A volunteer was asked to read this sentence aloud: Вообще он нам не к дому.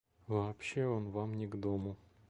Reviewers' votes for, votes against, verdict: 0, 2, rejected